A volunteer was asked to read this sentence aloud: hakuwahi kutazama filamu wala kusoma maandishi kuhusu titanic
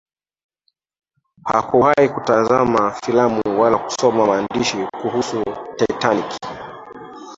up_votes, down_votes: 0, 2